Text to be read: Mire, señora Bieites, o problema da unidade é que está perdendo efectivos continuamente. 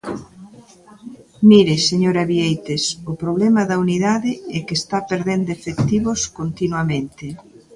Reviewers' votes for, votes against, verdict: 0, 2, rejected